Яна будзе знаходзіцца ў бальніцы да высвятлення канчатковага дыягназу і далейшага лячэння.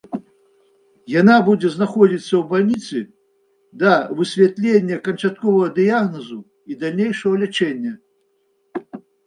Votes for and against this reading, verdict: 0, 2, rejected